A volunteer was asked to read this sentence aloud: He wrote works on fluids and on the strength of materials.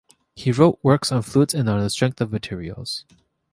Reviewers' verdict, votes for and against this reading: accepted, 2, 0